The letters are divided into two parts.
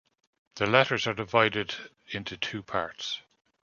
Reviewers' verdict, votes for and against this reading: accepted, 2, 0